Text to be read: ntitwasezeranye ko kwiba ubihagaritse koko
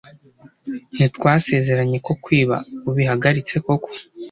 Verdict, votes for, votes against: accepted, 2, 0